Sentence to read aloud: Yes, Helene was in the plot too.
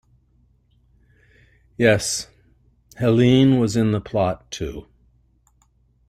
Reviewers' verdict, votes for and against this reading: accepted, 2, 0